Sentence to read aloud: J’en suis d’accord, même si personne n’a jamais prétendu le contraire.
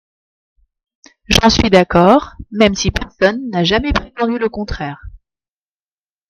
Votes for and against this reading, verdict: 0, 2, rejected